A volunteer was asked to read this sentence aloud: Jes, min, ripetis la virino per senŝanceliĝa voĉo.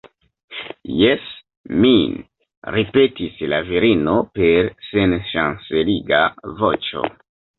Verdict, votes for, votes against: rejected, 1, 2